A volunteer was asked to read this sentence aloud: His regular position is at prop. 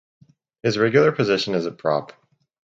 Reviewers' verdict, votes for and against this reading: rejected, 2, 2